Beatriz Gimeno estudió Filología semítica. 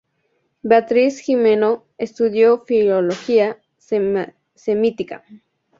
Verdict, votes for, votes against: accepted, 2, 0